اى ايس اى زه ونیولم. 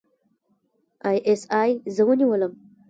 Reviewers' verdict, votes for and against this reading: rejected, 1, 2